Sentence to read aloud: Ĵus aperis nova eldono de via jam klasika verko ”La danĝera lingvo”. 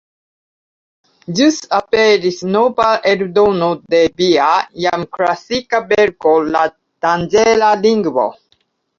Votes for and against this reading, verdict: 2, 0, accepted